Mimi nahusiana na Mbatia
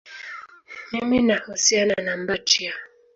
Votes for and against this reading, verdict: 0, 2, rejected